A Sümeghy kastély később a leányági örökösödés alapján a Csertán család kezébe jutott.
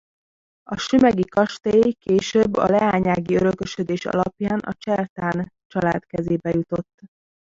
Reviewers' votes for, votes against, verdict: 1, 2, rejected